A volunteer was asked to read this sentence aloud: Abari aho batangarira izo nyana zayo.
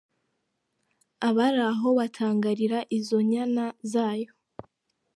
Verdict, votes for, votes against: accepted, 2, 1